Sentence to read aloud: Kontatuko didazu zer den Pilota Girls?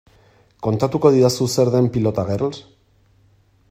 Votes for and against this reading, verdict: 2, 0, accepted